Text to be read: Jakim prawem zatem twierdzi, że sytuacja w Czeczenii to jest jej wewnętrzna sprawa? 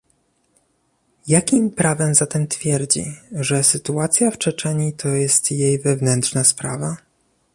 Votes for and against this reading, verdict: 2, 0, accepted